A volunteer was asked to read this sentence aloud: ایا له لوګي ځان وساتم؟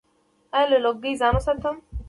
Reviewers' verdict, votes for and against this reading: accepted, 2, 0